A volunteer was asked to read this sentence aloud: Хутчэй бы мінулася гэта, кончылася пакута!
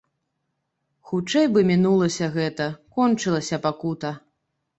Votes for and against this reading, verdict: 2, 0, accepted